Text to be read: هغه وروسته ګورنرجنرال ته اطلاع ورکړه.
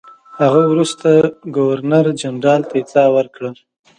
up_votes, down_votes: 2, 0